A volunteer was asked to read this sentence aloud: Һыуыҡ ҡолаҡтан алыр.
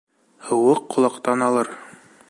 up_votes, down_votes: 2, 0